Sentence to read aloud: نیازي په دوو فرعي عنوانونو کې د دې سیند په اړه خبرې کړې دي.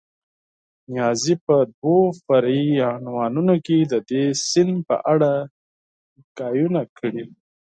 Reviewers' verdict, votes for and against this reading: accepted, 4, 2